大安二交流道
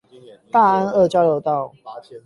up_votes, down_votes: 8, 0